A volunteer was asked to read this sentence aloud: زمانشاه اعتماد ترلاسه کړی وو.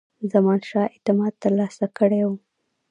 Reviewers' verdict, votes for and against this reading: rejected, 1, 2